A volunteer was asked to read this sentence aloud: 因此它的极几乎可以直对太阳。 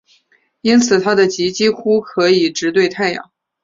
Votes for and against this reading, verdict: 4, 0, accepted